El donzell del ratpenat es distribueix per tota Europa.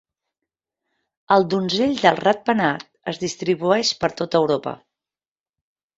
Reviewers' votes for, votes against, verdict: 3, 0, accepted